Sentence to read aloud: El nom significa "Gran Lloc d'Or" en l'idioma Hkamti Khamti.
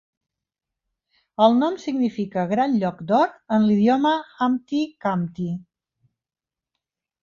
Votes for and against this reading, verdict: 2, 0, accepted